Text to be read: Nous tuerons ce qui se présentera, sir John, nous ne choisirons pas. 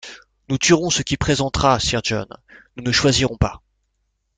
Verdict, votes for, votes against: rejected, 1, 2